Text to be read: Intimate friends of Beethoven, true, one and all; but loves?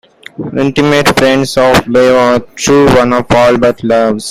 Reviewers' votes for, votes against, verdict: 2, 1, accepted